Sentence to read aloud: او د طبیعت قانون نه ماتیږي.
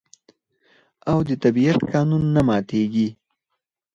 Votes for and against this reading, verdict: 0, 4, rejected